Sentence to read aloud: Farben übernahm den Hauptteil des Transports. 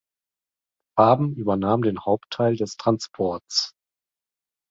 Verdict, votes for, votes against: rejected, 1, 2